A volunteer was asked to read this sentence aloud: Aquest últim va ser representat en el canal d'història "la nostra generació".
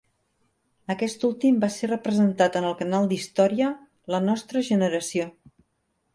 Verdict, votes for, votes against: accepted, 3, 0